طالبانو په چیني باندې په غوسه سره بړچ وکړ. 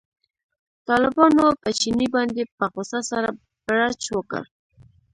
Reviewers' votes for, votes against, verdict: 1, 2, rejected